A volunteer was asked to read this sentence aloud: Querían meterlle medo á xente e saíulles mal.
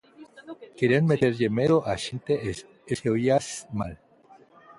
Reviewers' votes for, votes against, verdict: 0, 2, rejected